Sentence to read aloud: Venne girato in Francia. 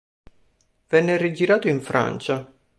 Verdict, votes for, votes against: rejected, 0, 2